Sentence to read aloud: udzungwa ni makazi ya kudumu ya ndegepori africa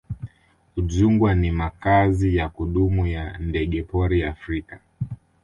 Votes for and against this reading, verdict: 2, 0, accepted